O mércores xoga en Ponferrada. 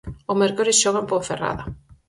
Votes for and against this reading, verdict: 4, 0, accepted